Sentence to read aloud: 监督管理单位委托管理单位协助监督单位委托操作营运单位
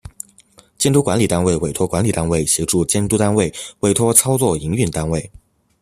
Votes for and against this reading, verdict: 2, 0, accepted